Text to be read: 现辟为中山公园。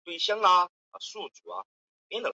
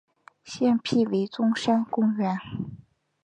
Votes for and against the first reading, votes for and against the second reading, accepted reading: 0, 2, 4, 0, second